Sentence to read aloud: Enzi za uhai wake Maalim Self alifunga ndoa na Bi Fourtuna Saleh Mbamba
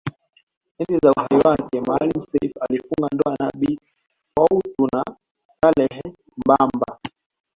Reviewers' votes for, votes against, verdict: 1, 2, rejected